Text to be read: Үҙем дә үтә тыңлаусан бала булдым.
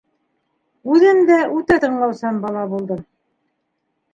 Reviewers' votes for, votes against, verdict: 2, 1, accepted